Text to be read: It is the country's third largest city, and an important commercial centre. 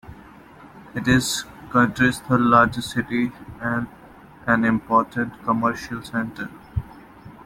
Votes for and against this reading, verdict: 2, 0, accepted